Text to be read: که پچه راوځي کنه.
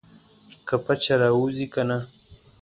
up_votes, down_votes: 2, 0